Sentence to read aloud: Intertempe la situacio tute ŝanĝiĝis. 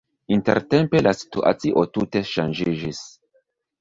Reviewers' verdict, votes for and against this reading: accepted, 2, 1